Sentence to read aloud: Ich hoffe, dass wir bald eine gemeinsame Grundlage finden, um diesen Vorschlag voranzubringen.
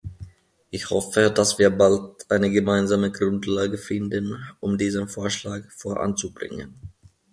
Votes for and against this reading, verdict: 2, 0, accepted